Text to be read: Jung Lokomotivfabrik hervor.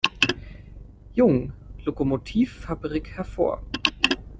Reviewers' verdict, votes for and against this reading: accepted, 2, 0